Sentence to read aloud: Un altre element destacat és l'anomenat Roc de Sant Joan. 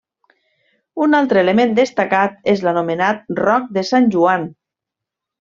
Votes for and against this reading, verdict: 2, 0, accepted